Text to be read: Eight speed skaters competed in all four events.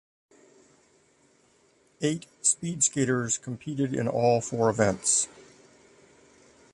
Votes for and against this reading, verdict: 2, 0, accepted